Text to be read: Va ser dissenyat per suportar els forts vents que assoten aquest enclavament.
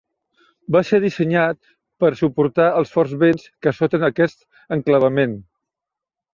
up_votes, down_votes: 2, 0